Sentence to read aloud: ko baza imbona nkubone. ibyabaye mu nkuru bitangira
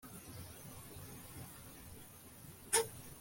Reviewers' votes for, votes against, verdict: 2, 3, rejected